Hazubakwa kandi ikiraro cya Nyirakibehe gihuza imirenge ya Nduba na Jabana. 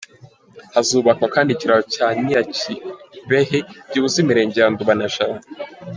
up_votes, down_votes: 2, 1